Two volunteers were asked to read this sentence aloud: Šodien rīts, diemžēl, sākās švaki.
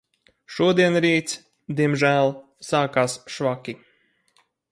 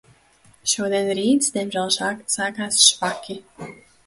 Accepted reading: first